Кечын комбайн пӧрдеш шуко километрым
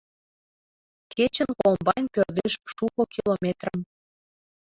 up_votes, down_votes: 0, 2